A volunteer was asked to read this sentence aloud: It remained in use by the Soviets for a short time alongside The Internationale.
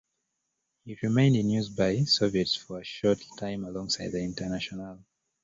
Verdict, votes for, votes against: accepted, 2, 1